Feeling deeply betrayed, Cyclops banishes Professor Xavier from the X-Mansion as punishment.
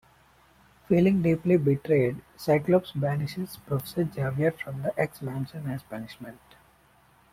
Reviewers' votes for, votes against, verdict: 0, 2, rejected